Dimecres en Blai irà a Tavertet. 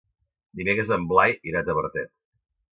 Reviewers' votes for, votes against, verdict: 2, 0, accepted